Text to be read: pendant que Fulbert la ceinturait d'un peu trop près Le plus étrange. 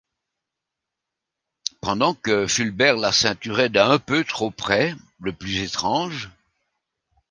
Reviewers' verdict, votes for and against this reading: accepted, 2, 0